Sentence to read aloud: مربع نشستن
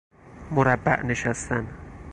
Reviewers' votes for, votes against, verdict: 4, 0, accepted